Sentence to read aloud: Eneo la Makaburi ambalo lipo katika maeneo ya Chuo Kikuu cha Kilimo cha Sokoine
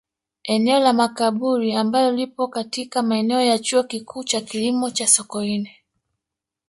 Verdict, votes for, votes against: rejected, 1, 2